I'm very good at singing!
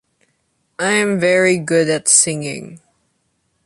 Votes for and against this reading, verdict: 2, 0, accepted